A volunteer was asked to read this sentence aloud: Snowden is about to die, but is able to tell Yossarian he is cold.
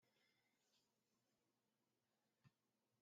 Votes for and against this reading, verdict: 0, 2, rejected